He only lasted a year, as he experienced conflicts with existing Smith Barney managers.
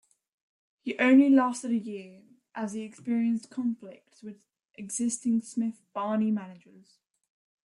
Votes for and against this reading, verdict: 2, 1, accepted